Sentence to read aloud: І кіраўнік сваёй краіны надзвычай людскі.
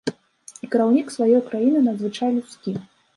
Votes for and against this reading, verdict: 1, 2, rejected